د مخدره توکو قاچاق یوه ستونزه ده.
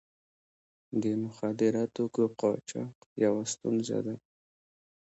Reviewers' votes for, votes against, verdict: 1, 2, rejected